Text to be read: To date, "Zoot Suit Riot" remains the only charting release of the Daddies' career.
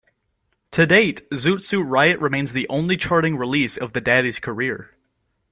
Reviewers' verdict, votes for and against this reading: accepted, 2, 0